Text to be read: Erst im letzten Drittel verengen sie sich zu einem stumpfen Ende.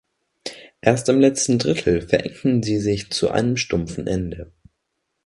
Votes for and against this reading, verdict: 1, 2, rejected